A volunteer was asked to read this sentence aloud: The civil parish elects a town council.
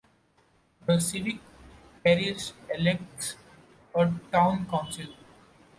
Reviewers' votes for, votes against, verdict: 2, 0, accepted